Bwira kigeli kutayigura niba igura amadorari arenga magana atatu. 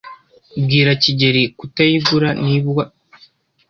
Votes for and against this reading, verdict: 0, 2, rejected